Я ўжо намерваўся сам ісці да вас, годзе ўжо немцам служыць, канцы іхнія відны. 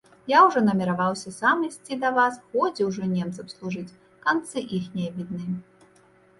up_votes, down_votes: 0, 2